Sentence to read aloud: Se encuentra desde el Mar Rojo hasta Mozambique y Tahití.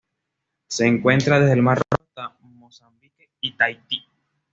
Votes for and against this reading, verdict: 1, 2, rejected